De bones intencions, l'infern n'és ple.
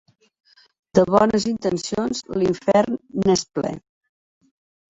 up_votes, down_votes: 4, 0